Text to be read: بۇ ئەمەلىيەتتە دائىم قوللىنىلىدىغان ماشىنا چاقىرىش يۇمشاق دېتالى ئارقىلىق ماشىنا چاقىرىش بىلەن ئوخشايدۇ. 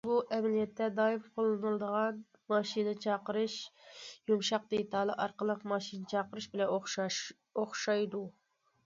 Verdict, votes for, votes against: rejected, 1, 2